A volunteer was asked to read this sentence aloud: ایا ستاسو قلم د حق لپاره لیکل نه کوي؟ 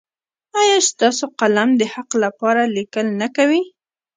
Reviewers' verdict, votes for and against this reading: rejected, 0, 2